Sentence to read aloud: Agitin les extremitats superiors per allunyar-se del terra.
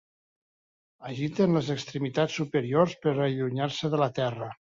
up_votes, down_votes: 0, 2